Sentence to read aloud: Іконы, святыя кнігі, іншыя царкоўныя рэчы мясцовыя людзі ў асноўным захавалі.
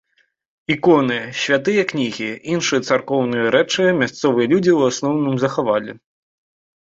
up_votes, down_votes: 2, 0